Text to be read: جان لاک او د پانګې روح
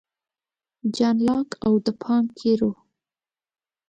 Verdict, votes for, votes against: accepted, 2, 0